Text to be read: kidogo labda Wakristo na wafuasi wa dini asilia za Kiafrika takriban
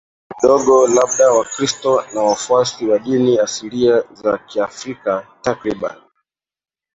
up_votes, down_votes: 0, 2